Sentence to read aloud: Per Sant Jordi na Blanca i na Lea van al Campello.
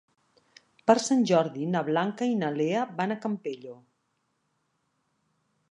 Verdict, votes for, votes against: rejected, 1, 2